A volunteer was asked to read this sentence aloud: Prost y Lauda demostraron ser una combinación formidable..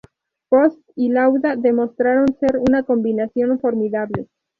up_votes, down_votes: 2, 0